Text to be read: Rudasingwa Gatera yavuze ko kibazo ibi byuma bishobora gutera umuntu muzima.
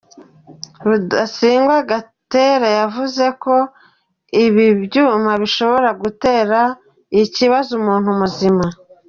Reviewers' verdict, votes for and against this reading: rejected, 1, 2